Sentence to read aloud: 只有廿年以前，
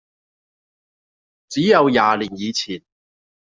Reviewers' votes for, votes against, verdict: 2, 0, accepted